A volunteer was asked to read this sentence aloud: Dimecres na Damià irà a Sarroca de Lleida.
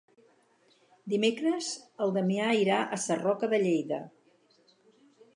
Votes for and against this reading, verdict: 0, 4, rejected